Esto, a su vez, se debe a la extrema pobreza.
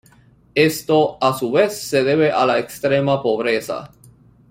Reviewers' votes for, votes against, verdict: 1, 2, rejected